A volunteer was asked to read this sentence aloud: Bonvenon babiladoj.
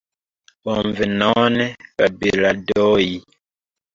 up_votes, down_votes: 0, 2